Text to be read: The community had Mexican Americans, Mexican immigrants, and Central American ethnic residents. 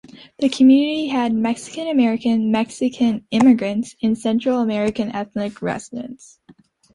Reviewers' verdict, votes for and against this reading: accepted, 2, 1